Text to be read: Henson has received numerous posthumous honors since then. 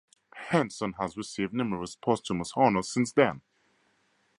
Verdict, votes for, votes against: rejected, 2, 2